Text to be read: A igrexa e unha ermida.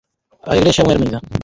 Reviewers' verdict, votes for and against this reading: rejected, 0, 4